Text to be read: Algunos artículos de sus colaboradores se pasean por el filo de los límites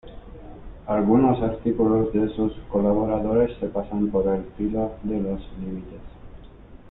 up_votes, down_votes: 1, 2